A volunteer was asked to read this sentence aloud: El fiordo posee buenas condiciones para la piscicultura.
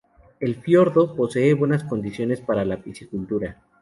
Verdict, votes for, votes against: accepted, 2, 0